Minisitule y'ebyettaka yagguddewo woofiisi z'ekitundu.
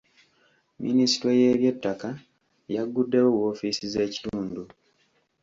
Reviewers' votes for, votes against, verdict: 1, 2, rejected